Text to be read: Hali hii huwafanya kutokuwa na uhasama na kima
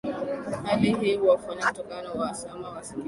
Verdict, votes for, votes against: rejected, 0, 2